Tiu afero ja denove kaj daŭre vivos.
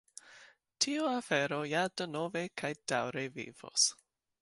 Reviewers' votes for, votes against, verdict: 2, 0, accepted